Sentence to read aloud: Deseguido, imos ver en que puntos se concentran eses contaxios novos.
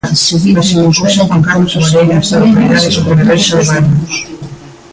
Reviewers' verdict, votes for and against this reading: rejected, 0, 2